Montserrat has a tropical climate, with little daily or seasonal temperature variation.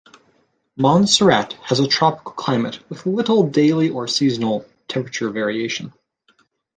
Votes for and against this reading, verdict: 2, 0, accepted